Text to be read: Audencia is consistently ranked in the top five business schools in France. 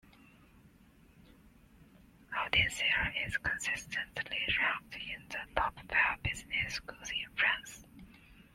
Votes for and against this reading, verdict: 1, 2, rejected